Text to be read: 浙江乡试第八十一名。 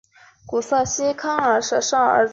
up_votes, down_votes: 0, 2